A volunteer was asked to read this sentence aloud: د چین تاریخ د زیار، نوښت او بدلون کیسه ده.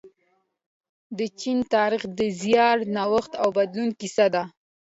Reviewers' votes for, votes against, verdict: 2, 0, accepted